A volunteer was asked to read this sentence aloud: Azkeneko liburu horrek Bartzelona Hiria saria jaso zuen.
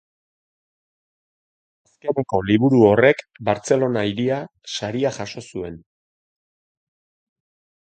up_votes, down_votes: 1, 2